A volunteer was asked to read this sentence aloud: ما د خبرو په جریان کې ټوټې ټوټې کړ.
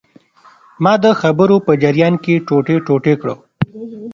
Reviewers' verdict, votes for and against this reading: accepted, 2, 0